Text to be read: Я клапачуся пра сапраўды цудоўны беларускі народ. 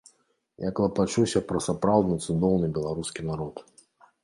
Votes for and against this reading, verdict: 2, 0, accepted